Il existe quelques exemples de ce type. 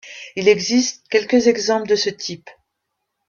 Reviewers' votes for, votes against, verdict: 3, 0, accepted